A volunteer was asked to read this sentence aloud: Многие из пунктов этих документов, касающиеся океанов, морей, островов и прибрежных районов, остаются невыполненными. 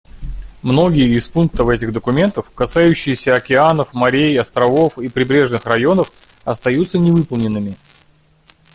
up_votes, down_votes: 2, 0